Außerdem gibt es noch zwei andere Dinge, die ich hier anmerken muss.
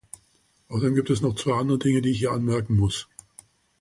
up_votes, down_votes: 2, 0